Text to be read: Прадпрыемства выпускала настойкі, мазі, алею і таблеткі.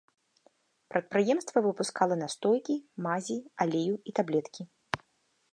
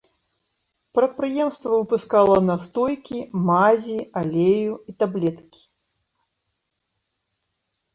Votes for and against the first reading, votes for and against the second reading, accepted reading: 0, 2, 2, 0, second